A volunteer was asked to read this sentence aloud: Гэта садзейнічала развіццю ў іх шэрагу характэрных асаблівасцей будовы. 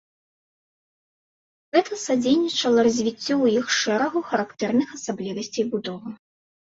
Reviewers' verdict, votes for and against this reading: accepted, 2, 0